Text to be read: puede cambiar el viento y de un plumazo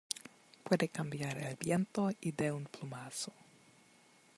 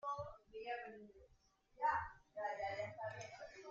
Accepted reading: first